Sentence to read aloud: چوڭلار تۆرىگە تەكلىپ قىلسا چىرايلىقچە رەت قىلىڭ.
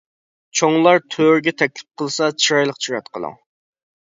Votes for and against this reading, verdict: 0, 2, rejected